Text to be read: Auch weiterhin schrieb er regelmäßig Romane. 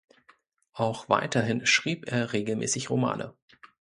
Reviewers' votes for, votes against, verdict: 2, 0, accepted